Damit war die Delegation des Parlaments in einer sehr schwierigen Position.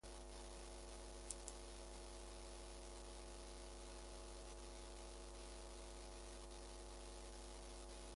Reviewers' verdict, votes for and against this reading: rejected, 0, 2